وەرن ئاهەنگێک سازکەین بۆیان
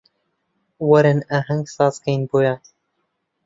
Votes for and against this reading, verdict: 1, 2, rejected